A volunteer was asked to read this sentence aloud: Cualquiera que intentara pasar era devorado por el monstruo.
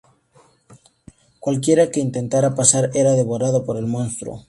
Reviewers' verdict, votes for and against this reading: accepted, 6, 0